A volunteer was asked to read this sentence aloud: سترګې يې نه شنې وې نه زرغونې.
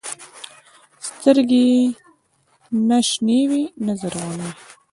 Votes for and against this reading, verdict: 1, 2, rejected